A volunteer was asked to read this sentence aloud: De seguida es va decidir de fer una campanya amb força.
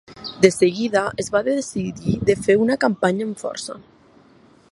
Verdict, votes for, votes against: accepted, 3, 0